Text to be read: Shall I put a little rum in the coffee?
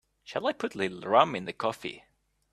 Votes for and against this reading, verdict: 2, 1, accepted